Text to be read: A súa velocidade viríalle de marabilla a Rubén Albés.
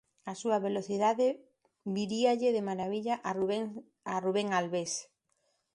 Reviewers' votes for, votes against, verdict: 0, 2, rejected